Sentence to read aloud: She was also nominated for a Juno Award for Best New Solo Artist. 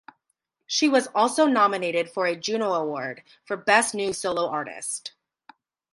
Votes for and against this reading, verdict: 0, 2, rejected